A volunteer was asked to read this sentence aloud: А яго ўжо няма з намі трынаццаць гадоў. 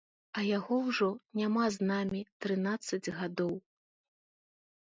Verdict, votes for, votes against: accepted, 2, 0